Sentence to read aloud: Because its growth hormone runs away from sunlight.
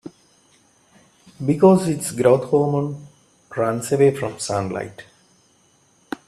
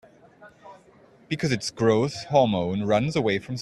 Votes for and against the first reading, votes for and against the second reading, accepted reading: 2, 0, 0, 2, first